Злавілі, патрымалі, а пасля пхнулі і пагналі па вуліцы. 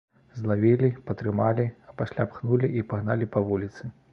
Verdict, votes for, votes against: accepted, 2, 0